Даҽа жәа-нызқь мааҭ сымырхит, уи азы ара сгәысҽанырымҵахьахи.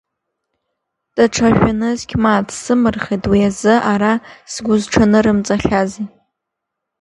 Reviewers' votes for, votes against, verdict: 1, 2, rejected